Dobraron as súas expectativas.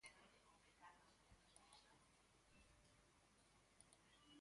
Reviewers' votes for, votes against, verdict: 0, 4, rejected